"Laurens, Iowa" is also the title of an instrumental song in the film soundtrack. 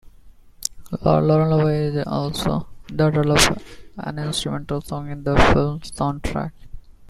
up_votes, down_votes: 1, 2